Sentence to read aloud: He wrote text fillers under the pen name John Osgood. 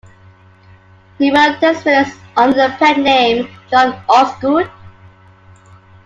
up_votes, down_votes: 1, 2